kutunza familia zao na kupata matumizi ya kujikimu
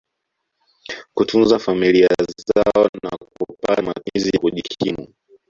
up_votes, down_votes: 1, 2